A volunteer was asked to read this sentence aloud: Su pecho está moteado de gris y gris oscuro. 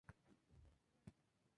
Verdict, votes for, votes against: rejected, 0, 2